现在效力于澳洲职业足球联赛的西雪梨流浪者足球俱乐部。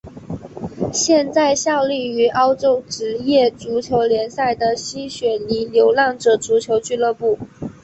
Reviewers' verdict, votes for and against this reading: accepted, 2, 1